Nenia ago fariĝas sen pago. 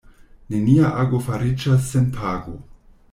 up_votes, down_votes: 2, 0